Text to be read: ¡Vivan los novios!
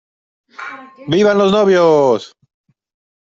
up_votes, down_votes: 2, 0